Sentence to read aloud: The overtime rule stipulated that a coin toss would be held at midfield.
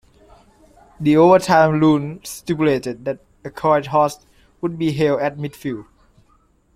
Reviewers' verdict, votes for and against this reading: rejected, 1, 2